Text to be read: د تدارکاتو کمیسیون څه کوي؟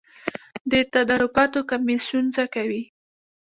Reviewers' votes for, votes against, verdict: 0, 2, rejected